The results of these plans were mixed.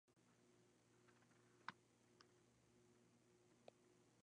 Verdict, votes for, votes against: rejected, 0, 2